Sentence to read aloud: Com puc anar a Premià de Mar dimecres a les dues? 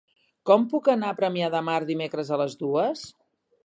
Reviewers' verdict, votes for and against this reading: accepted, 3, 0